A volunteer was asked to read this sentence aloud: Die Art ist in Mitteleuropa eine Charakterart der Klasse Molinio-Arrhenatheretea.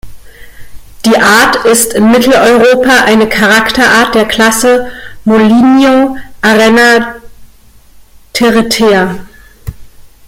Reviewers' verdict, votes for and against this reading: rejected, 1, 2